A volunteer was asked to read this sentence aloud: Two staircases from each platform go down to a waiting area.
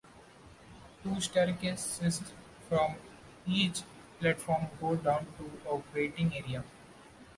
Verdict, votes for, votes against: accepted, 2, 1